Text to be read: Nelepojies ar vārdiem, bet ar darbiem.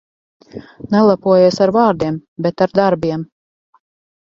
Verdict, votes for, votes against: accepted, 4, 0